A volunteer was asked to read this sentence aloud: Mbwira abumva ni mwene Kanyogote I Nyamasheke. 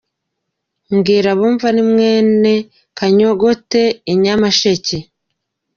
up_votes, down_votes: 2, 0